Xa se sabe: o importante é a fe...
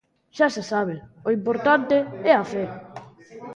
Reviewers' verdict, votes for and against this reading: rejected, 0, 2